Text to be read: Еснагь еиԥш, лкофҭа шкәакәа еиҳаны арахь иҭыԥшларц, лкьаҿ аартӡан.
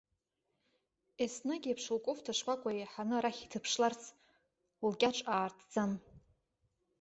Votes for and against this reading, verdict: 0, 2, rejected